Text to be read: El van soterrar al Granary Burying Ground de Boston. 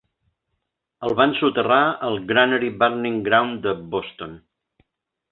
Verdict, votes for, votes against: accepted, 3, 1